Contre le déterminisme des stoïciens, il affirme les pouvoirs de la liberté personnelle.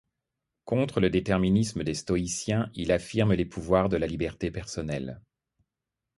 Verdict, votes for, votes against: accepted, 2, 0